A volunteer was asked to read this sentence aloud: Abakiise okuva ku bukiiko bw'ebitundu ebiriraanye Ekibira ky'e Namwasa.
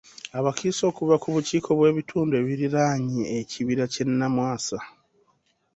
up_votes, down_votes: 3, 1